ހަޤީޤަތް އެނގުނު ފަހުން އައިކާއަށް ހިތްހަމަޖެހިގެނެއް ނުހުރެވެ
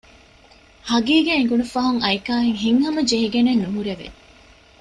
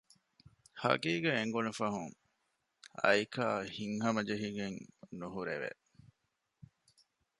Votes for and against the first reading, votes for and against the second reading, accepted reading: 2, 0, 0, 2, first